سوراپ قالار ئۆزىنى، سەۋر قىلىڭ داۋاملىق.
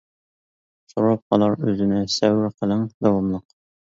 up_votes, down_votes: 2, 0